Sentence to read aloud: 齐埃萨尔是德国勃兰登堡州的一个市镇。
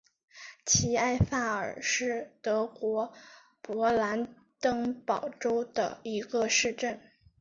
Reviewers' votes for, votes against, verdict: 0, 2, rejected